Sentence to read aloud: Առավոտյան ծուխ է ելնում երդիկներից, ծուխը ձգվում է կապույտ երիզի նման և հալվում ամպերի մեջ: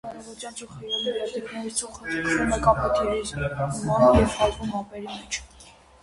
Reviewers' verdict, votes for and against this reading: rejected, 0, 2